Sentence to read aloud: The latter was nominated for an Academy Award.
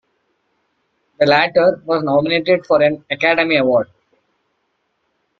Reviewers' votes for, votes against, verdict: 2, 0, accepted